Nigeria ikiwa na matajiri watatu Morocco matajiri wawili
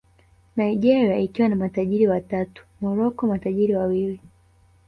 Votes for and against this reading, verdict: 2, 0, accepted